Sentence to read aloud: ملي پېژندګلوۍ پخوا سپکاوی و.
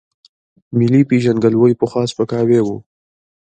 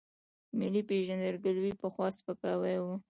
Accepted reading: first